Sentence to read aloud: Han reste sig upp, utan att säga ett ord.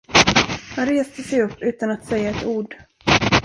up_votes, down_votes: 1, 2